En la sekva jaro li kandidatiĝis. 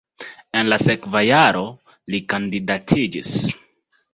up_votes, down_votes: 3, 0